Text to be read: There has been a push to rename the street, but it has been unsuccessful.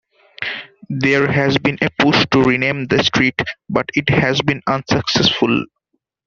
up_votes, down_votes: 2, 0